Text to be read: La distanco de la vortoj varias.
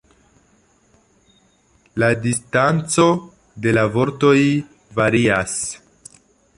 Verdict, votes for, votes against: accepted, 2, 0